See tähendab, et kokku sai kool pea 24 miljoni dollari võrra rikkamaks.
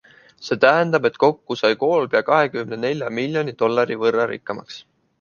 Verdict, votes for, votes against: rejected, 0, 2